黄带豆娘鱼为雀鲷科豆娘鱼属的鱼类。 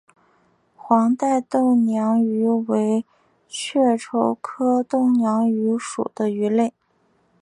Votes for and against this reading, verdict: 3, 1, accepted